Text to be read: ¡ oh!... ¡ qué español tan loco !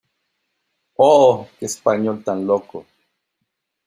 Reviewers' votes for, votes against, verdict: 2, 0, accepted